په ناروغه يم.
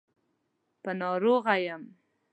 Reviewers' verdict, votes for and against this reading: rejected, 1, 2